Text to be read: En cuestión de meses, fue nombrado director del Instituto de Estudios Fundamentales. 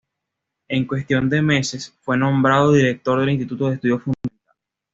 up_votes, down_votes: 1, 2